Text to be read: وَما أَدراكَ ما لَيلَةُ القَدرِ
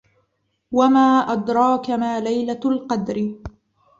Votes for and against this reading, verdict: 2, 0, accepted